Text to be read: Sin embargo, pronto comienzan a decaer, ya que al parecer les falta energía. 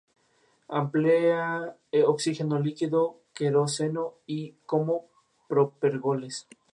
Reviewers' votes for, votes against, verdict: 0, 2, rejected